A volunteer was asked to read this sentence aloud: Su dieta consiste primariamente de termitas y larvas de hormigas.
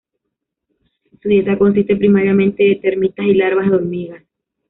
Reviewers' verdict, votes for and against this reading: rejected, 0, 2